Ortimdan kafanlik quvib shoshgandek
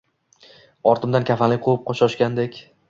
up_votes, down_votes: 1, 2